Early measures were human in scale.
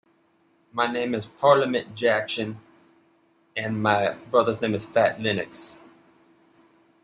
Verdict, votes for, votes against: rejected, 0, 2